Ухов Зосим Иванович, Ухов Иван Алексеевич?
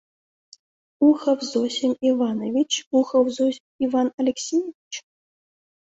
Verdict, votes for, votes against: rejected, 1, 2